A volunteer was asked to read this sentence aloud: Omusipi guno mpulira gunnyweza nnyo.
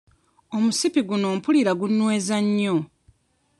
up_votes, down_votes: 0, 2